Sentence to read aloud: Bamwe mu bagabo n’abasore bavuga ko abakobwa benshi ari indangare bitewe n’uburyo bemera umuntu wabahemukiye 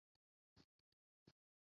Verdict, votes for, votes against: rejected, 0, 2